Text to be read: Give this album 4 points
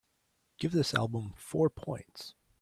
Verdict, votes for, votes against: rejected, 0, 2